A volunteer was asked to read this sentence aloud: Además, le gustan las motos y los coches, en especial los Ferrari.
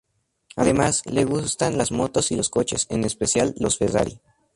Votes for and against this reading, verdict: 0, 2, rejected